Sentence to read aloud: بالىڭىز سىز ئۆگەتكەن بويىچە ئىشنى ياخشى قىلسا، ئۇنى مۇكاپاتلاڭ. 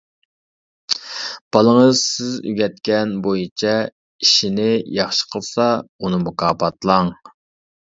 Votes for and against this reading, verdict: 2, 0, accepted